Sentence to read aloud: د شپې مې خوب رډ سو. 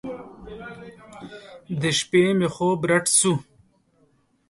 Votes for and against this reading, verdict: 2, 0, accepted